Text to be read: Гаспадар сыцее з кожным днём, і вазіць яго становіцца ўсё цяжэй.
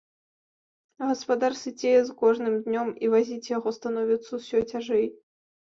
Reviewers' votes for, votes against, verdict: 3, 0, accepted